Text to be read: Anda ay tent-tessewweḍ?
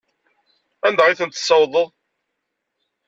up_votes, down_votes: 0, 2